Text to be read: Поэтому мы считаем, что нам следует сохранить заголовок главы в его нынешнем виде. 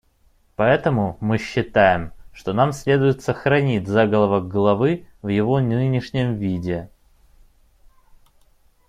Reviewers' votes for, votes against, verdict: 1, 2, rejected